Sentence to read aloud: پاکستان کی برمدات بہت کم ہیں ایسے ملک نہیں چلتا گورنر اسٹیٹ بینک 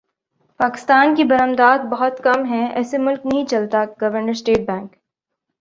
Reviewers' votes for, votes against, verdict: 7, 1, accepted